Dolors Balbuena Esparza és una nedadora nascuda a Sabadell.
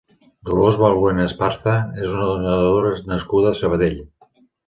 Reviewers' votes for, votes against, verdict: 0, 2, rejected